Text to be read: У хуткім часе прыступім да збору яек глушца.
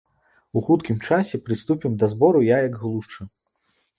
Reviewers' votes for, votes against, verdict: 1, 2, rejected